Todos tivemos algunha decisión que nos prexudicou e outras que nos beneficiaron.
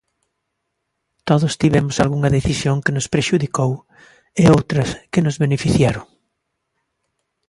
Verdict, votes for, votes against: accepted, 2, 0